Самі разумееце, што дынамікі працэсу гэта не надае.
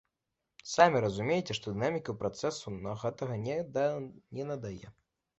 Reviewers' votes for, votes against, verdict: 0, 2, rejected